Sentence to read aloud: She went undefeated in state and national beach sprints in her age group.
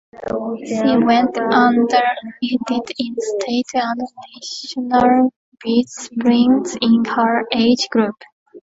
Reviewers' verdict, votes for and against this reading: rejected, 0, 2